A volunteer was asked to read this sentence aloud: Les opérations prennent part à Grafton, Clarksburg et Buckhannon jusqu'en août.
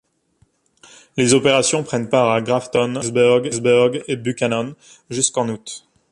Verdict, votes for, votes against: rejected, 0, 2